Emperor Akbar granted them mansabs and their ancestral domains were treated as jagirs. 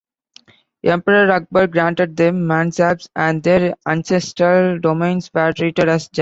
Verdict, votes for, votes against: rejected, 0, 2